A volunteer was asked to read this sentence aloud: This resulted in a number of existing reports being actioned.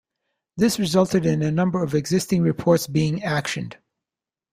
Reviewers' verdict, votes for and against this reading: accepted, 2, 0